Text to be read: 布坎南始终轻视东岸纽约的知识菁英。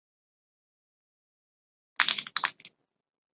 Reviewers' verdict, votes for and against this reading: rejected, 0, 2